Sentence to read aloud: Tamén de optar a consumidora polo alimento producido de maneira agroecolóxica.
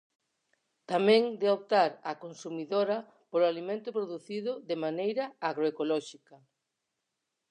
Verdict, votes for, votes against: accepted, 4, 2